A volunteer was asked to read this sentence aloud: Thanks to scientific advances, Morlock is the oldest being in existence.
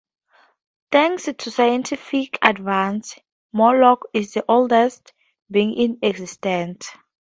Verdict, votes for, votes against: accepted, 2, 0